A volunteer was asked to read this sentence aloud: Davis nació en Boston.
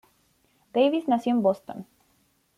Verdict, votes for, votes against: accepted, 2, 0